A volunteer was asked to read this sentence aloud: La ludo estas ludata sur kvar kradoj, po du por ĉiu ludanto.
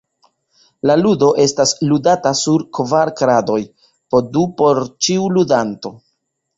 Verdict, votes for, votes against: accepted, 2, 1